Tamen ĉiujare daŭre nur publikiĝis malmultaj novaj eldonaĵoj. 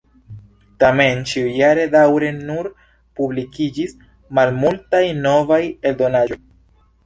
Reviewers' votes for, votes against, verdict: 2, 0, accepted